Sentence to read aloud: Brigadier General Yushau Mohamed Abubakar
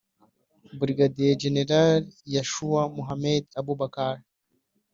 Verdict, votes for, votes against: accepted, 2, 0